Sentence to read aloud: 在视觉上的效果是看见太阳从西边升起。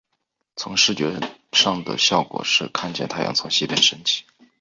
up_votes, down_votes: 2, 1